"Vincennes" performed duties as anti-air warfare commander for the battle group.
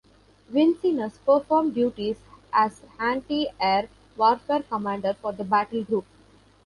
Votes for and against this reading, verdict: 2, 0, accepted